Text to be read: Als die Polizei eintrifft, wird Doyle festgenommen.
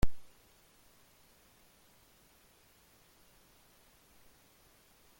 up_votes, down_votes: 1, 2